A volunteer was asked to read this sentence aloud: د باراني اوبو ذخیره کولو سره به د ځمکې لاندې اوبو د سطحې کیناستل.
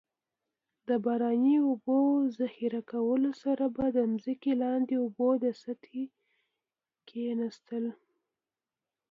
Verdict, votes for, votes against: accepted, 2, 0